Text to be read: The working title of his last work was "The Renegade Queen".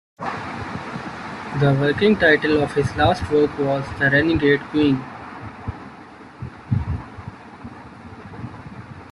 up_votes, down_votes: 2, 0